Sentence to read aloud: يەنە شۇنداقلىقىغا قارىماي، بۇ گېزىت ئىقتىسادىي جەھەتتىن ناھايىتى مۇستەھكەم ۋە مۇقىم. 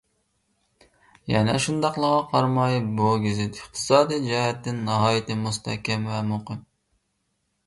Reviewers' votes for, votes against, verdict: 0, 2, rejected